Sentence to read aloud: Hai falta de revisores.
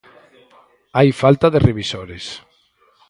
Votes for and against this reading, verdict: 2, 2, rejected